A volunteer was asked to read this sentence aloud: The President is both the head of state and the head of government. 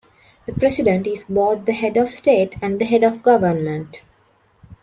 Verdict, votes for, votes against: accepted, 2, 0